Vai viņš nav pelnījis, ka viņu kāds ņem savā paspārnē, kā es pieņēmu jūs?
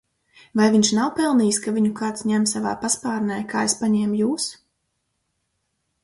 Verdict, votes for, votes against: rejected, 2, 4